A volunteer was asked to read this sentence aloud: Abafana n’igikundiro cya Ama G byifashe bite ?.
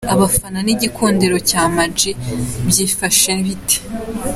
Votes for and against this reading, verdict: 2, 0, accepted